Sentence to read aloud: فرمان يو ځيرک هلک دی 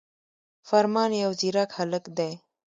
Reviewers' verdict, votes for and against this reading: rejected, 1, 2